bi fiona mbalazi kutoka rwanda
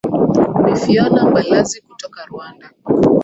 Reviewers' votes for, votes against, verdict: 1, 2, rejected